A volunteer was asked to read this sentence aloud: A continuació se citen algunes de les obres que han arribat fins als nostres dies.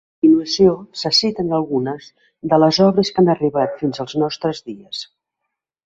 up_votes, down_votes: 1, 2